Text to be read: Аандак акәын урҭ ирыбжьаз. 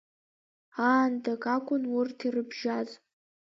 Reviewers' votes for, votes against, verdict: 0, 2, rejected